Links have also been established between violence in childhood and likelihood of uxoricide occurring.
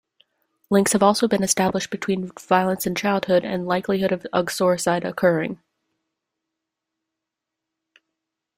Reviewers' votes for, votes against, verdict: 2, 0, accepted